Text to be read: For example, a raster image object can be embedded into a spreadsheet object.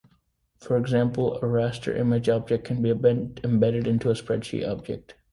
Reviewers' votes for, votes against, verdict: 1, 2, rejected